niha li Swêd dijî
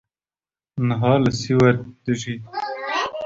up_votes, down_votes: 2, 1